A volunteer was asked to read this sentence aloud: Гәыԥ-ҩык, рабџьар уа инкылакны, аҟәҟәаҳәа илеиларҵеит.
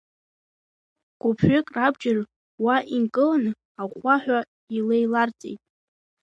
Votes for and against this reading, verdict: 2, 0, accepted